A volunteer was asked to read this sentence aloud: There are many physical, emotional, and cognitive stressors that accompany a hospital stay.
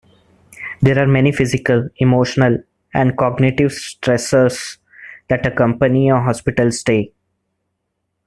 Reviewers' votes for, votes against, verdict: 2, 0, accepted